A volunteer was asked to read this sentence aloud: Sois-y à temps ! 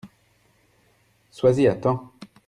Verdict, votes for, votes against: accepted, 2, 0